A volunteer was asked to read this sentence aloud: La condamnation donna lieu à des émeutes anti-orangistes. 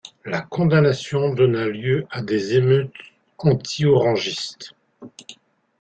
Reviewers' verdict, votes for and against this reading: rejected, 0, 2